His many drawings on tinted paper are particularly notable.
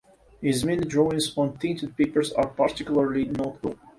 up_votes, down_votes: 0, 2